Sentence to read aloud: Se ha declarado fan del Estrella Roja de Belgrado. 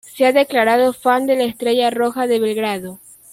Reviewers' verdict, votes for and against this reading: rejected, 0, 2